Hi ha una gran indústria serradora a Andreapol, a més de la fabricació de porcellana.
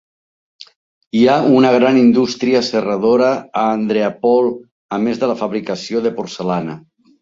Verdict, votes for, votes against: accepted, 2, 1